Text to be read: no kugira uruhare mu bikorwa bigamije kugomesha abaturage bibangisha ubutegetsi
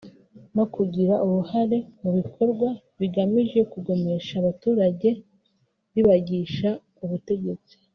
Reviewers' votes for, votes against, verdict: 1, 2, rejected